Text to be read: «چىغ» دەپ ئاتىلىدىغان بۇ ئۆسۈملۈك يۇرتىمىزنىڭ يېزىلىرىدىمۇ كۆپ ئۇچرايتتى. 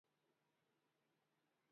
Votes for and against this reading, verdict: 0, 2, rejected